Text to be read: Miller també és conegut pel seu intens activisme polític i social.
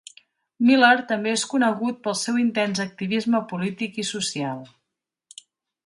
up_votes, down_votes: 2, 0